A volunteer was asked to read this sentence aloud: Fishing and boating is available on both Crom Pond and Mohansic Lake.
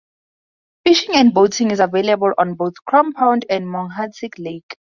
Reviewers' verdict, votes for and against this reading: accepted, 2, 0